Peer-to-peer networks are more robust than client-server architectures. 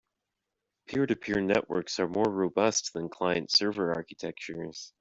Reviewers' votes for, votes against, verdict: 2, 1, accepted